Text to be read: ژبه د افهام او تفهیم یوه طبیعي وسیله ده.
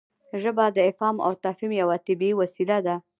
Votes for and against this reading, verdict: 1, 2, rejected